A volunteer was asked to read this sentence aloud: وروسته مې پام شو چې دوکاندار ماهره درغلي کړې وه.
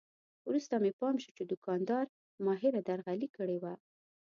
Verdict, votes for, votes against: accepted, 2, 0